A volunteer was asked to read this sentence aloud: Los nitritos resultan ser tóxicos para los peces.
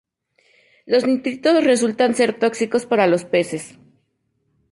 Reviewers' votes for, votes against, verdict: 4, 0, accepted